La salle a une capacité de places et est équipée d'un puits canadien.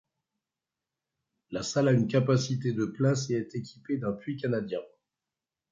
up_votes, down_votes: 2, 0